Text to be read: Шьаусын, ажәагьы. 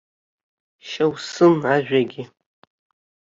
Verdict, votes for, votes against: rejected, 0, 2